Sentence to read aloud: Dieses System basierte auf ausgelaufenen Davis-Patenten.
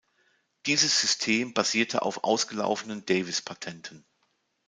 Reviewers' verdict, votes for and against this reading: accepted, 2, 0